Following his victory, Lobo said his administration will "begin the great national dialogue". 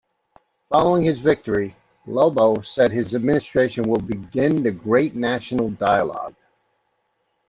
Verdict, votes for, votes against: accepted, 2, 0